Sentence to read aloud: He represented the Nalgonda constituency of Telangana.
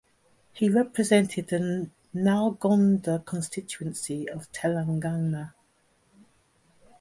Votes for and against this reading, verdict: 0, 2, rejected